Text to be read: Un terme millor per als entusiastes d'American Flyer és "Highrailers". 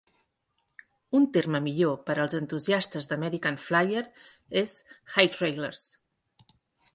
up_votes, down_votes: 3, 1